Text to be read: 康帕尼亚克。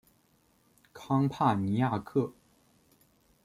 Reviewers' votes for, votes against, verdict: 2, 0, accepted